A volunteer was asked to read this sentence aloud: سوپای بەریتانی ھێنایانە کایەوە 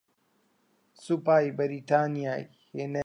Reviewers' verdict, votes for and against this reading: rejected, 0, 2